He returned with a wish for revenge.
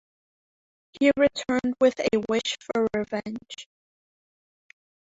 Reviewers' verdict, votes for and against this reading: rejected, 2, 3